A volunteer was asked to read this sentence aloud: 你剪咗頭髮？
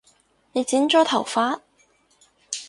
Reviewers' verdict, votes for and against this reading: accepted, 4, 0